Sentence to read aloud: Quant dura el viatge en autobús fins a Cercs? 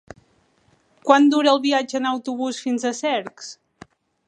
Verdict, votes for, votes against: accepted, 5, 0